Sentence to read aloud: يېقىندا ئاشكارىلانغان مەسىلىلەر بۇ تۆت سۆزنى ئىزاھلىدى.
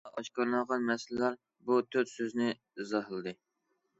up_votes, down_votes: 0, 2